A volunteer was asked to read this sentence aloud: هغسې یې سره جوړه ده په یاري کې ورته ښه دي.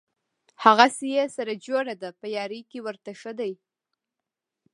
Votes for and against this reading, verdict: 0, 2, rejected